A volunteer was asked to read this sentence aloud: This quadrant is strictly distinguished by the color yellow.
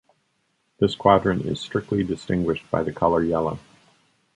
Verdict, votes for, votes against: accepted, 2, 0